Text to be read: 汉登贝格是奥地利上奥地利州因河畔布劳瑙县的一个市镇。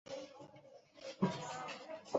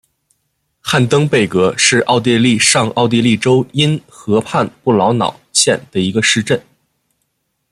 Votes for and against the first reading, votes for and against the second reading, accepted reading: 0, 4, 2, 0, second